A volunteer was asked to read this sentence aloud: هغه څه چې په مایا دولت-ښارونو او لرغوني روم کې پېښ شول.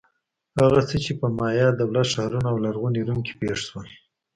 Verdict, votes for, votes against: rejected, 1, 2